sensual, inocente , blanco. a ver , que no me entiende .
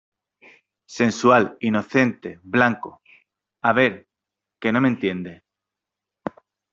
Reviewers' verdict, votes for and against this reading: accepted, 3, 0